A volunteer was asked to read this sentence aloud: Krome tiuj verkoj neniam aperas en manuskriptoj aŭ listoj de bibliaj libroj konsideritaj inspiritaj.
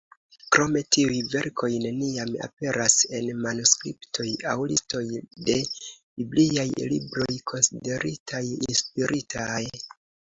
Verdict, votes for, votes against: accepted, 2, 0